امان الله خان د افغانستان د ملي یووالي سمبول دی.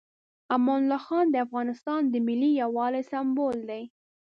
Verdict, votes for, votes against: accepted, 2, 0